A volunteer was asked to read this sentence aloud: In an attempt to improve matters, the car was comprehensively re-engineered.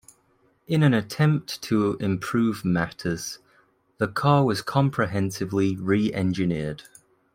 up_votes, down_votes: 2, 1